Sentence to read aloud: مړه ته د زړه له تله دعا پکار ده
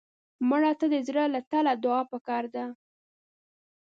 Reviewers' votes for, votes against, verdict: 0, 2, rejected